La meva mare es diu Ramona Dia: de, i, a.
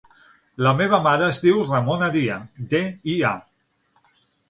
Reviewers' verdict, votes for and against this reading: accepted, 6, 0